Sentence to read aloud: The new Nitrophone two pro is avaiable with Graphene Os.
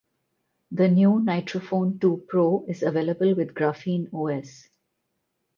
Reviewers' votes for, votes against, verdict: 4, 0, accepted